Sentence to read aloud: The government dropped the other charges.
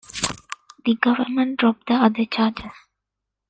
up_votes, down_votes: 2, 0